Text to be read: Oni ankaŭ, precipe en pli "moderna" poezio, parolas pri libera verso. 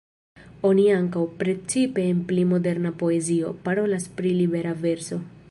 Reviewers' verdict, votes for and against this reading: accepted, 2, 0